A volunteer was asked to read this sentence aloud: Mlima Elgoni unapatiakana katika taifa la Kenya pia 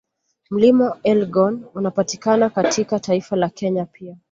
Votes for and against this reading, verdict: 2, 0, accepted